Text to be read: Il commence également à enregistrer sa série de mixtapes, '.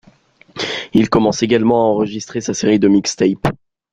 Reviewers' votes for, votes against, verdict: 2, 1, accepted